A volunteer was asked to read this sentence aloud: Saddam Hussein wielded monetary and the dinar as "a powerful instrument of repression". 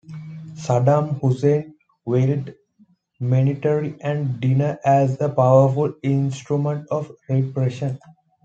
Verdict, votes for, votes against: accepted, 2, 1